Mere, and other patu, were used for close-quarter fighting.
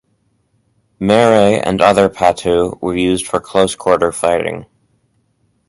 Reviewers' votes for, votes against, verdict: 4, 0, accepted